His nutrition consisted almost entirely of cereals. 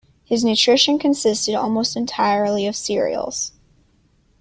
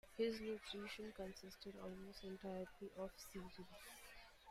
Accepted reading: first